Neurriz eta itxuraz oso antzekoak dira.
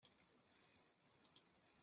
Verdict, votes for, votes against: rejected, 0, 2